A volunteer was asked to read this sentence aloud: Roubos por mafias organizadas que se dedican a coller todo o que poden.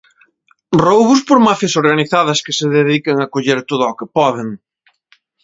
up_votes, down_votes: 2, 0